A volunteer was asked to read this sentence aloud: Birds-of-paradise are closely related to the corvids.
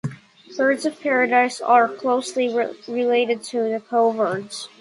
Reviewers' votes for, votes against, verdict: 2, 1, accepted